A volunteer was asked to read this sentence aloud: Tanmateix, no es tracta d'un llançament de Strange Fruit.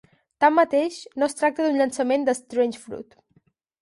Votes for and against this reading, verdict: 4, 0, accepted